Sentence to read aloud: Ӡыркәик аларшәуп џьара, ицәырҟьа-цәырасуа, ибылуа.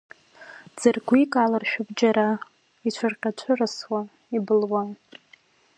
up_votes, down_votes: 2, 0